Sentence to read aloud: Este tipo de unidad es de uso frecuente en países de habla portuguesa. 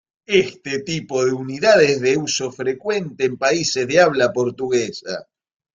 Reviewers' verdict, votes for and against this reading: accepted, 2, 1